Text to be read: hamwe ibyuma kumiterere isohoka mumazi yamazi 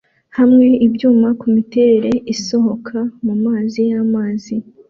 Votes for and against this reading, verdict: 2, 0, accepted